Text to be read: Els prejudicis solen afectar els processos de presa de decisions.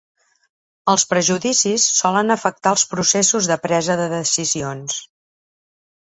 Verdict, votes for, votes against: accepted, 6, 0